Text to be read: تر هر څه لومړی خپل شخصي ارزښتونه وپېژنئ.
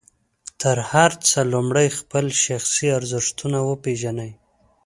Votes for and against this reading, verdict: 2, 0, accepted